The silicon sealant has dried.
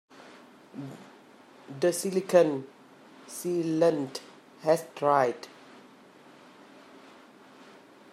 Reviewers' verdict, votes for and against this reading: accepted, 2, 1